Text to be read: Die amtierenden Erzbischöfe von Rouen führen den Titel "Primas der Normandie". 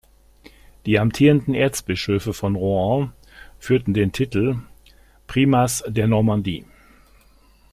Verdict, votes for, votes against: rejected, 0, 2